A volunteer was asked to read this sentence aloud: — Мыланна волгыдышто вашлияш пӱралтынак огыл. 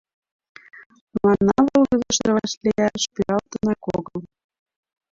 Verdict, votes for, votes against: accepted, 2, 1